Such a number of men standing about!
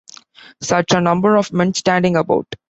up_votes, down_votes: 3, 0